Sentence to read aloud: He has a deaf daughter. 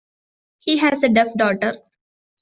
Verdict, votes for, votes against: rejected, 0, 2